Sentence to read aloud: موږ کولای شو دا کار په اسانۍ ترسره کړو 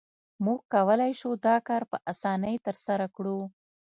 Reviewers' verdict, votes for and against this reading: accepted, 2, 0